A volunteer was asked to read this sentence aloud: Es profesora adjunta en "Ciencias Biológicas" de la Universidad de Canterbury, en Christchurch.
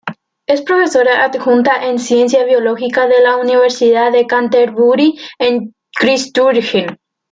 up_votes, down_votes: 1, 2